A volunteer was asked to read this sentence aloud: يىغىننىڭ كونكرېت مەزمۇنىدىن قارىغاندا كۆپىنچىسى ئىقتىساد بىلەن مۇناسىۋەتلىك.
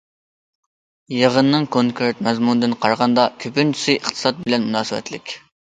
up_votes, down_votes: 2, 0